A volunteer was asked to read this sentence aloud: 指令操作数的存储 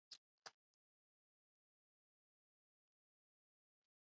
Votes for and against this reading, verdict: 0, 2, rejected